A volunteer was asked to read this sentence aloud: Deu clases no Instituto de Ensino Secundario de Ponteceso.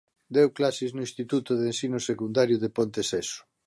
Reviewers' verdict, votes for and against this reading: accepted, 2, 0